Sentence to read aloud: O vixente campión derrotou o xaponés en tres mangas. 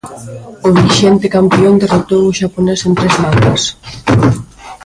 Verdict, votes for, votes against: rejected, 0, 2